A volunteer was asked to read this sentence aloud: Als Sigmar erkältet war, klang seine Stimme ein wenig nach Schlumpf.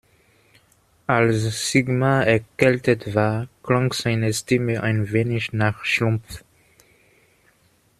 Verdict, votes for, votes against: accepted, 2, 1